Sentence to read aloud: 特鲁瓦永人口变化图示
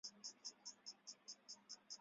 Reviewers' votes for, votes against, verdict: 0, 2, rejected